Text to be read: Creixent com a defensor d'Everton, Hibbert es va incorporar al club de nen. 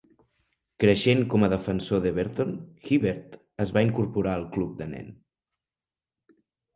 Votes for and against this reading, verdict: 2, 0, accepted